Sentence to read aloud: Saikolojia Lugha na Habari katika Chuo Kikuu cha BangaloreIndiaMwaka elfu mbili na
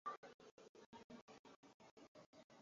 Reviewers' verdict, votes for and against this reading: rejected, 0, 2